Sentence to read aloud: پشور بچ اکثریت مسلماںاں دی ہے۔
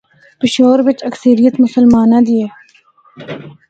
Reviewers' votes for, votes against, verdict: 2, 0, accepted